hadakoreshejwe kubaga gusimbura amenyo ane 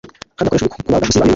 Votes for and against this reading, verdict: 1, 2, rejected